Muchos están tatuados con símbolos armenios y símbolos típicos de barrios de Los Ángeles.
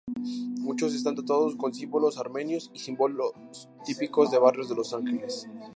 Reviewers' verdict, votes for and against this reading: rejected, 0, 2